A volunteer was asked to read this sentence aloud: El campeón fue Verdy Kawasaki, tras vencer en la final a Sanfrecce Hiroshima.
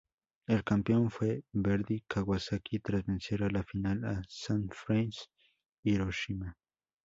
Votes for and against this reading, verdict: 2, 0, accepted